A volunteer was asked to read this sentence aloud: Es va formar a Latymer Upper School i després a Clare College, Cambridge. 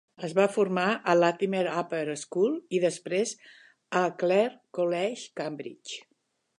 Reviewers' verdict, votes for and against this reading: accepted, 3, 0